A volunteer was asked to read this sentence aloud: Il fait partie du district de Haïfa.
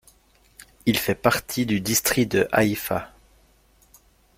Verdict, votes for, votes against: rejected, 1, 2